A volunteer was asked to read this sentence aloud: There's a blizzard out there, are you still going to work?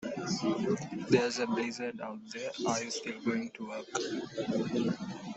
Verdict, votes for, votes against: rejected, 1, 2